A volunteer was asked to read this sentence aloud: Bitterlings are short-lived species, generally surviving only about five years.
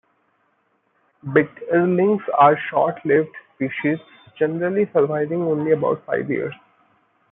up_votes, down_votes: 2, 0